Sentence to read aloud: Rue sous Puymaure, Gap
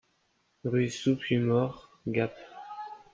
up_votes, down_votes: 2, 0